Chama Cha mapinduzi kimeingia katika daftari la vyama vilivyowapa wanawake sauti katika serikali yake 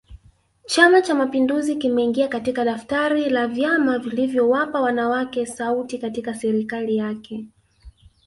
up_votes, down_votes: 1, 2